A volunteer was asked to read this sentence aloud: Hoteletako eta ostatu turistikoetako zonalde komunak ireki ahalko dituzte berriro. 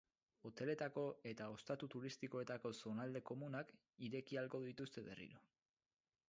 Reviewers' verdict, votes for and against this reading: accepted, 4, 2